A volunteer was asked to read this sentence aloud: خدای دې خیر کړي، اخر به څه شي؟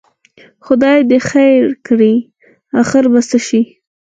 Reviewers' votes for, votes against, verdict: 0, 4, rejected